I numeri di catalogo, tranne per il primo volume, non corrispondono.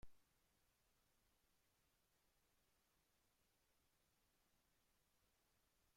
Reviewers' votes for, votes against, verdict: 0, 2, rejected